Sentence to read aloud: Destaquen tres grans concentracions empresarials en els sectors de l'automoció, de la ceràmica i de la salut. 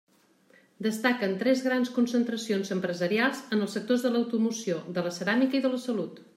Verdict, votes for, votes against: accepted, 2, 0